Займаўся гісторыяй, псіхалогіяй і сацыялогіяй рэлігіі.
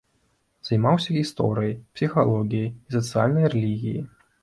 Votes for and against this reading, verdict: 1, 2, rejected